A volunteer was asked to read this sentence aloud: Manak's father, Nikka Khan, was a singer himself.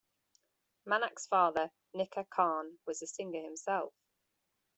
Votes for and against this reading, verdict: 2, 0, accepted